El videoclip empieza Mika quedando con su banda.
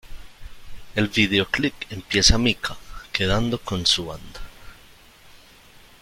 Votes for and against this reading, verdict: 0, 2, rejected